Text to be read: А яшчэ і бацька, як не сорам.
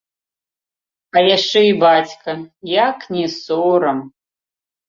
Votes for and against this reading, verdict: 1, 2, rejected